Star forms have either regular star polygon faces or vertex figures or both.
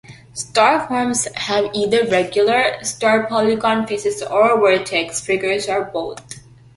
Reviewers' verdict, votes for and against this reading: accepted, 2, 0